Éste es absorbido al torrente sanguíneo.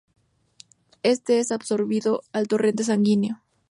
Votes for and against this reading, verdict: 2, 0, accepted